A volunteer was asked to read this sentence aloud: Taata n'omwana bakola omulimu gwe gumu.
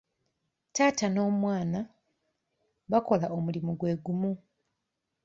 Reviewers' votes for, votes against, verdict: 2, 0, accepted